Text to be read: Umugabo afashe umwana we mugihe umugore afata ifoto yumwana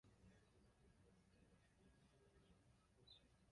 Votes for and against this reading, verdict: 0, 2, rejected